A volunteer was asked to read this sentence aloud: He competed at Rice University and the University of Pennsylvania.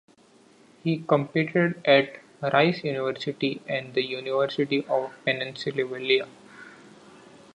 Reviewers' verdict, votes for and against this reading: rejected, 0, 2